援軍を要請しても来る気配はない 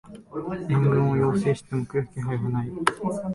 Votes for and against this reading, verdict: 0, 2, rejected